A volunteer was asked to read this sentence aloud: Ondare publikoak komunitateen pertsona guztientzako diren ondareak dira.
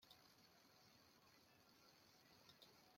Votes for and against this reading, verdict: 0, 2, rejected